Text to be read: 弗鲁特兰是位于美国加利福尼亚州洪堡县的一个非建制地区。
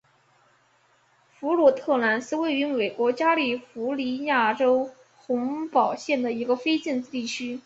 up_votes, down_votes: 2, 2